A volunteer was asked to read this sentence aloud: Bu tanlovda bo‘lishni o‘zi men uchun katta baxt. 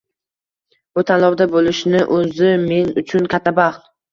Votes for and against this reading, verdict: 2, 1, accepted